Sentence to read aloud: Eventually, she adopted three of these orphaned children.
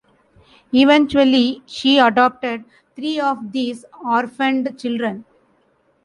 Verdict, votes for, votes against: accepted, 3, 0